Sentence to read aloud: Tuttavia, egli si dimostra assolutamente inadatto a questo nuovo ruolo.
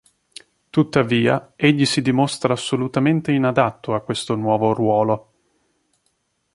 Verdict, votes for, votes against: accepted, 2, 0